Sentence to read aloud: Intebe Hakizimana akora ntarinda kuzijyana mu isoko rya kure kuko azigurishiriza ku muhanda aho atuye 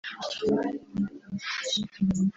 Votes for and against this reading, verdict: 1, 2, rejected